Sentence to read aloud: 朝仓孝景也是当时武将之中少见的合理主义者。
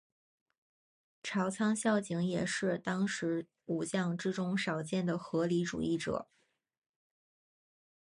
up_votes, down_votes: 3, 0